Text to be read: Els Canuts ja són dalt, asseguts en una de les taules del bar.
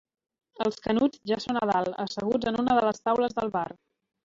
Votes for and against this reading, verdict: 0, 2, rejected